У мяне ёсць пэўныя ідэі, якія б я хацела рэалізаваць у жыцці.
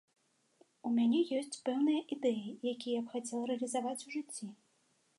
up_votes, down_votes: 2, 1